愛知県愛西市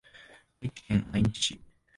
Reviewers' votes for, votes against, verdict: 0, 2, rejected